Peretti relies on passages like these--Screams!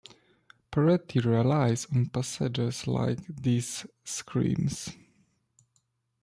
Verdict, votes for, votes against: accepted, 2, 0